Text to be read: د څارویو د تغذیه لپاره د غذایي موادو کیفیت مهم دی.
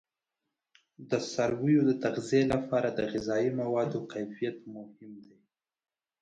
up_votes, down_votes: 2, 0